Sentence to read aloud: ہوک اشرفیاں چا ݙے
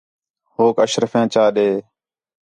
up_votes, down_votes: 4, 0